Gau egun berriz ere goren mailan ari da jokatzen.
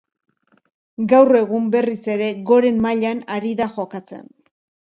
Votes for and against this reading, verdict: 2, 0, accepted